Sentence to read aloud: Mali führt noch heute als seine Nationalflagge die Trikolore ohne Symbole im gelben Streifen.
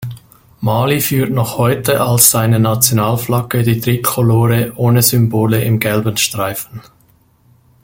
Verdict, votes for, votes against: accepted, 2, 0